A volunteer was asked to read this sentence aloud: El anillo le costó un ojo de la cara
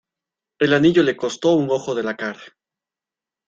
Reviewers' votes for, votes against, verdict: 0, 2, rejected